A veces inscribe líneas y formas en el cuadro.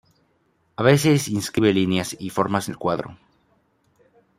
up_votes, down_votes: 1, 2